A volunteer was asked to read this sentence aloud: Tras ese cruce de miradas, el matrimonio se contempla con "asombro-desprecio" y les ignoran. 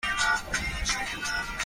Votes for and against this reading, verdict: 0, 2, rejected